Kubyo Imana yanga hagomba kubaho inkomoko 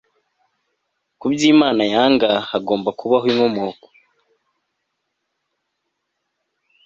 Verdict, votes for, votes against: accepted, 2, 0